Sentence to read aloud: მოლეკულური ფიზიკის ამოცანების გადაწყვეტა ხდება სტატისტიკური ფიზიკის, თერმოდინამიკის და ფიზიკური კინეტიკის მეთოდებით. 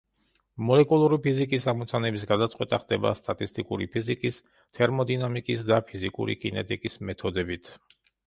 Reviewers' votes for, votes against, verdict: 2, 0, accepted